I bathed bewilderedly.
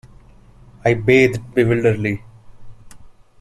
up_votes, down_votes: 2, 1